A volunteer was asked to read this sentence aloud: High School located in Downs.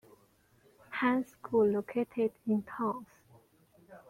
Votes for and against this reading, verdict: 1, 2, rejected